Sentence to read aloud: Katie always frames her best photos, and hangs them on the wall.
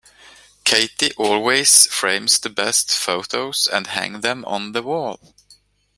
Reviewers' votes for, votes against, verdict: 0, 2, rejected